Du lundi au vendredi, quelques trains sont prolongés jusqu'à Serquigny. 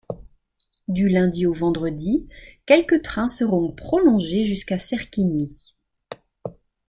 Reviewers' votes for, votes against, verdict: 1, 2, rejected